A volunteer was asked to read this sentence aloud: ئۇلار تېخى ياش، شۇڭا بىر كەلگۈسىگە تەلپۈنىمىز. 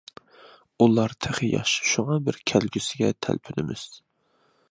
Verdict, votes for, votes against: accepted, 2, 0